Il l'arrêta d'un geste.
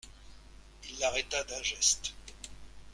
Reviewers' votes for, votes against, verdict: 2, 1, accepted